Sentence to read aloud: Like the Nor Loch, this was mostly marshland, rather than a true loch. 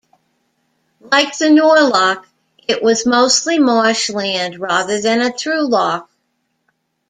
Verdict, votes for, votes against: rejected, 1, 2